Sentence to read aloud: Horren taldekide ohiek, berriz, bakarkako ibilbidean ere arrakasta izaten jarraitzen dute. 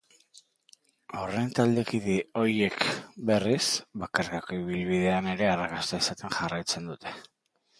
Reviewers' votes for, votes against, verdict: 4, 0, accepted